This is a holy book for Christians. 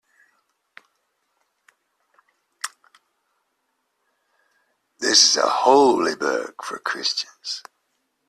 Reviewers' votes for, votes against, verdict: 2, 0, accepted